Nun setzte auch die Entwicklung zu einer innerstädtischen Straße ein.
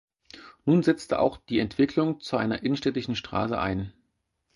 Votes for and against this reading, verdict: 2, 4, rejected